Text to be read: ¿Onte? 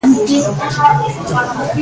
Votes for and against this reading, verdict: 0, 2, rejected